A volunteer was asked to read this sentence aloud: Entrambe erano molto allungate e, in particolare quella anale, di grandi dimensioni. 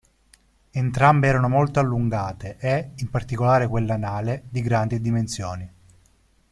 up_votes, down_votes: 2, 0